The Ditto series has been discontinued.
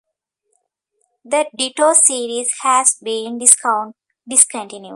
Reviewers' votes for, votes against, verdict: 0, 2, rejected